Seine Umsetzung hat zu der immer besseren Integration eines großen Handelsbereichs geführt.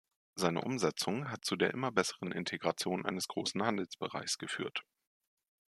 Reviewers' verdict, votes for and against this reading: accepted, 2, 0